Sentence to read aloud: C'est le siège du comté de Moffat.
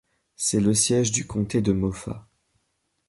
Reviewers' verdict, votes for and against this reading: accepted, 2, 0